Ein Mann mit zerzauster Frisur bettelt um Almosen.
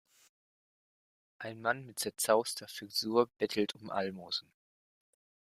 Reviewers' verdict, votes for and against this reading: accepted, 2, 1